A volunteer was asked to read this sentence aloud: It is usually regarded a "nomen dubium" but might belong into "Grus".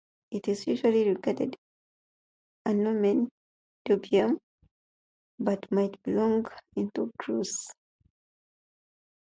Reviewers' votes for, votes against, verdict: 2, 2, rejected